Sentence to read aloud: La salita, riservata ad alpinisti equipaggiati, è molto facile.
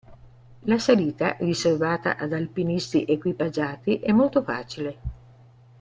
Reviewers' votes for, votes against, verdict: 3, 0, accepted